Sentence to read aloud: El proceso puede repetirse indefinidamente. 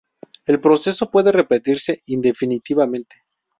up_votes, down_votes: 0, 2